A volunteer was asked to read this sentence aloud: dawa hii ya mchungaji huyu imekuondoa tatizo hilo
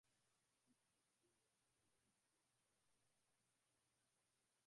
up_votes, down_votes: 0, 7